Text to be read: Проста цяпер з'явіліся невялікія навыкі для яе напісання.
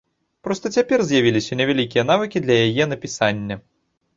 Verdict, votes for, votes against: accepted, 2, 0